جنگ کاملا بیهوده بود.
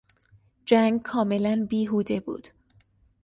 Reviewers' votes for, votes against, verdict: 3, 0, accepted